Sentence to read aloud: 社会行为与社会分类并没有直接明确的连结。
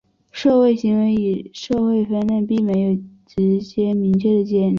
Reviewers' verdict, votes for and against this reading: rejected, 2, 3